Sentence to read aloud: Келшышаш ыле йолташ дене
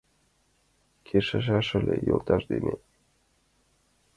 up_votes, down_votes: 1, 2